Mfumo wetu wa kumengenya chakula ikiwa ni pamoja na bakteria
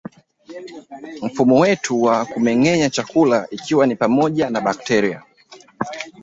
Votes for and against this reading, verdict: 2, 3, rejected